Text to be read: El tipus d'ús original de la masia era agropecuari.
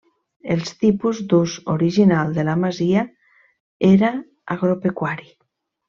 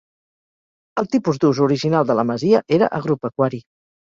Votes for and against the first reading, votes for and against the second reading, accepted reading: 1, 3, 2, 0, second